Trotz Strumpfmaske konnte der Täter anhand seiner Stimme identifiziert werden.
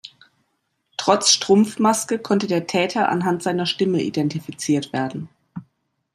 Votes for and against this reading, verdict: 2, 0, accepted